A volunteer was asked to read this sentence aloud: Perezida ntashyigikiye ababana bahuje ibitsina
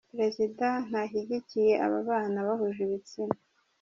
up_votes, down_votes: 2, 0